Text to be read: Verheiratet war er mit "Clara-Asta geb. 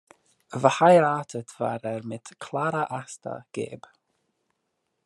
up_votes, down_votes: 1, 2